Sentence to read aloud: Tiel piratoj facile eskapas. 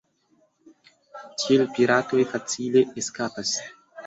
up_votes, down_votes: 2, 0